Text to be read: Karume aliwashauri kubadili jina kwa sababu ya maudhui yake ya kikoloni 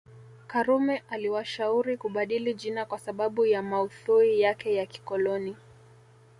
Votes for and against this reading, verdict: 1, 2, rejected